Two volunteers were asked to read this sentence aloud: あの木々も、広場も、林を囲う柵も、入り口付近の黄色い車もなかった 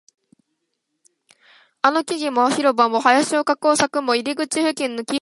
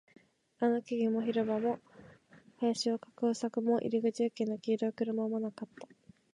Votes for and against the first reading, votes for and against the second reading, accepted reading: 0, 2, 2, 0, second